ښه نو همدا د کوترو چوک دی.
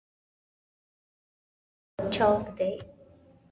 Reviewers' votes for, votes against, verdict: 0, 2, rejected